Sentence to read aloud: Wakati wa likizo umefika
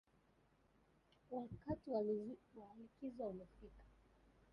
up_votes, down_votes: 0, 2